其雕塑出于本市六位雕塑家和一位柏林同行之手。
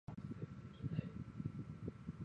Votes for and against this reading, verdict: 0, 3, rejected